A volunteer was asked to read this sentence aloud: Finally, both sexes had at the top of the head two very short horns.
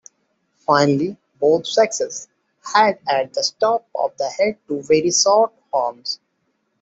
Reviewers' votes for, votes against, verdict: 2, 0, accepted